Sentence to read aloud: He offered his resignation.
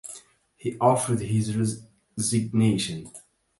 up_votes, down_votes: 1, 2